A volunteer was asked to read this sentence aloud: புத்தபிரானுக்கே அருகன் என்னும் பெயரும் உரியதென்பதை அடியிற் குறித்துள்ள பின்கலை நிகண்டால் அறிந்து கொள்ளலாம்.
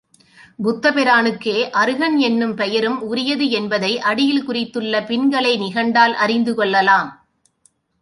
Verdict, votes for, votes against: accepted, 2, 0